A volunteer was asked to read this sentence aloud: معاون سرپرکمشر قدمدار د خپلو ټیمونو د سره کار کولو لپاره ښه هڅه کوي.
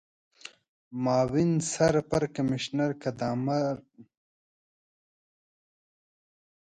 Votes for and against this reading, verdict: 0, 4, rejected